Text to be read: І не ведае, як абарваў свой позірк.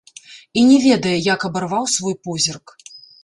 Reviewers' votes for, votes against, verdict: 2, 0, accepted